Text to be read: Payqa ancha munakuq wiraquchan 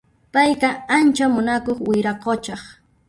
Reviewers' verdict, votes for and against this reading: rejected, 0, 2